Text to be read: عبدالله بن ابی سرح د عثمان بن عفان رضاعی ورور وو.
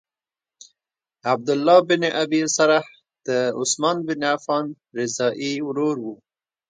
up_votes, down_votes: 1, 2